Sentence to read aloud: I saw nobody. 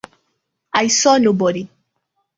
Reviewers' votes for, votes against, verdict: 1, 2, rejected